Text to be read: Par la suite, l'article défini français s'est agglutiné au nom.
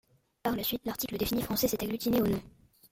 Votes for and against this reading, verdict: 2, 1, accepted